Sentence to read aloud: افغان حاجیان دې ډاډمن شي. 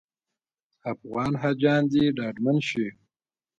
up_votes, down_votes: 1, 2